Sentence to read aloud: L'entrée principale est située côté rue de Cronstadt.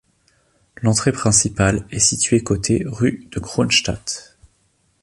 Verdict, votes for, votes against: accepted, 2, 0